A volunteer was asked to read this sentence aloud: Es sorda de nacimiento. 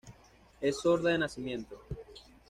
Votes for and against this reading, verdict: 2, 0, accepted